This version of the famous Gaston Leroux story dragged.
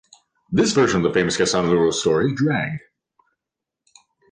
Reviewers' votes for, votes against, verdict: 1, 2, rejected